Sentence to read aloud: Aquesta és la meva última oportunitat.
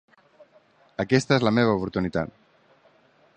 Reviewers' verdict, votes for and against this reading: rejected, 1, 3